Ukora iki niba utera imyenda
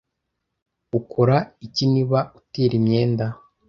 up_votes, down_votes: 1, 2